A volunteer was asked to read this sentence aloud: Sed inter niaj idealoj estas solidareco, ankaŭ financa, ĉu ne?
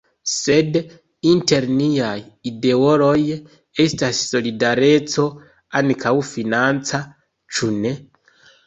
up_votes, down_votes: 0, 2